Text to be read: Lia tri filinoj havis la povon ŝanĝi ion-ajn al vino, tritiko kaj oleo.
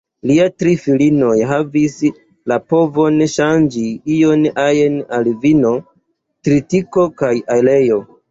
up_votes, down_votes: 2, 1